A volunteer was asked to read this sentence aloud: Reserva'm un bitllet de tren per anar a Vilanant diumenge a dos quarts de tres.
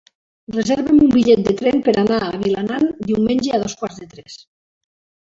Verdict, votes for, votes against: rejected, 1, 3